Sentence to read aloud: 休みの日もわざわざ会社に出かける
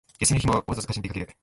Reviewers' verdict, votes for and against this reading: rejected, 0, 4